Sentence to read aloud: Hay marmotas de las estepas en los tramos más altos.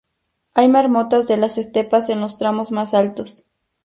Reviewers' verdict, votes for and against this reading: rejected, 0, 2